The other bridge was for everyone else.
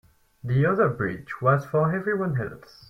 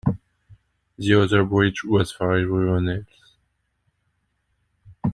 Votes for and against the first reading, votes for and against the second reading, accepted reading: 4, 0, 0, 2, first